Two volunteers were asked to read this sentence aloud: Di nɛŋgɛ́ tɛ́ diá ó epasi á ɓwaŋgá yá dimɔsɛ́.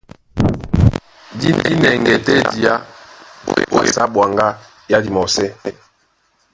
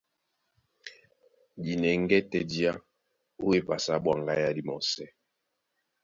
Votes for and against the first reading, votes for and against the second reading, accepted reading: 0, 2, 2, 0, second